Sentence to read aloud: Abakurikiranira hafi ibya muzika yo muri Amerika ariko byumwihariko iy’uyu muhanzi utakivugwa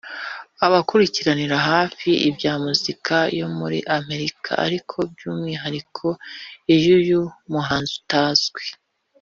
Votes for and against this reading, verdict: 0, 2, rejected